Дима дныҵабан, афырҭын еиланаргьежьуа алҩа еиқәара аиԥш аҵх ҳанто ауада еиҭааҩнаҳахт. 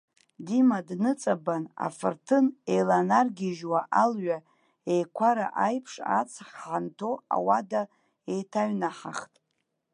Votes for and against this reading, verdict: 1, 3, rejected